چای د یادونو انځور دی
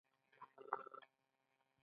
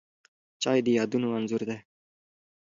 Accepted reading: second